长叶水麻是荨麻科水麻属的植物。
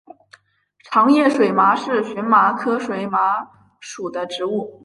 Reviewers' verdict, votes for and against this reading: accepted, 2, 0